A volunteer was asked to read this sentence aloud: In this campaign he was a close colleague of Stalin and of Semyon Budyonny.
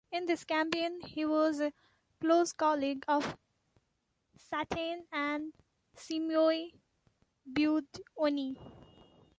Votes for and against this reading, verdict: 0, 2, rejected